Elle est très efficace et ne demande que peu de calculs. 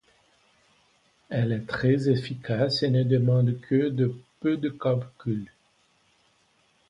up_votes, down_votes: 1, 2